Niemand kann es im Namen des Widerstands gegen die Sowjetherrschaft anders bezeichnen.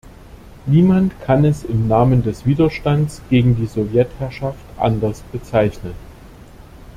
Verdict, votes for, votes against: accepted, 2, 0